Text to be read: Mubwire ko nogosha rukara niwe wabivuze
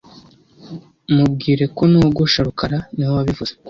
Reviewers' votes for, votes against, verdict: 2, 1, accepted